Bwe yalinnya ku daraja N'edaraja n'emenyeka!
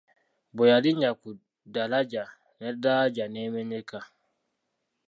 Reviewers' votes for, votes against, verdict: 2, 0, accepted